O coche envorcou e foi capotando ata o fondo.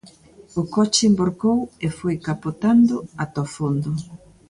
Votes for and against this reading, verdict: 2, 0, accepted